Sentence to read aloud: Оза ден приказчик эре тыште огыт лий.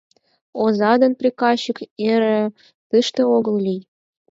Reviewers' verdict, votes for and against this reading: rejected, 0, 4